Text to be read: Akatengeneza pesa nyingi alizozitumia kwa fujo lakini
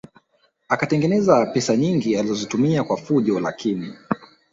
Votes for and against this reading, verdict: 1, 2, rejected